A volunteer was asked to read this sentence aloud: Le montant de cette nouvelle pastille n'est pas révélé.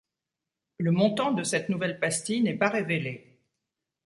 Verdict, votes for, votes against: accepted, 2, 0